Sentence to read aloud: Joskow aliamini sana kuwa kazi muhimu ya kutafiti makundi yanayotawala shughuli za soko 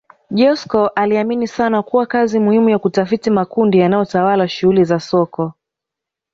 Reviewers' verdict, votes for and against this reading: accepted, 2, 0